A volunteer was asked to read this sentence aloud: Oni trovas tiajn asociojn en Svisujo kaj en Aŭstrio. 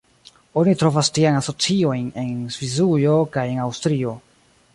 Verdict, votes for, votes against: accepted, 2, 0